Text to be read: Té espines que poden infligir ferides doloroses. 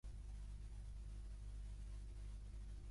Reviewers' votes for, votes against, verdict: 0, 2, rejected